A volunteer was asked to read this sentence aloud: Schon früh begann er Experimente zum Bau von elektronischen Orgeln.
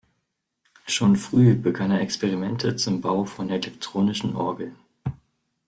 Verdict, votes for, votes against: rejected, 1, 2